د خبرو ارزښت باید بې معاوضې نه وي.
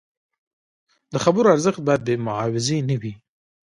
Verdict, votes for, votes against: rejected, 1, 2